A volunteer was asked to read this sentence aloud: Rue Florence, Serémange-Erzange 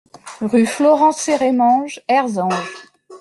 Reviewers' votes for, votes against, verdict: 1, 2, rejected